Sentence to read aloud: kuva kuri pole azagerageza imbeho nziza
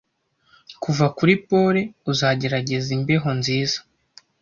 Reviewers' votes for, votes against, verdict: 0, 2, rejected